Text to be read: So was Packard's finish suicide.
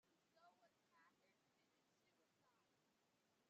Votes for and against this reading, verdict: 0, 2, rejected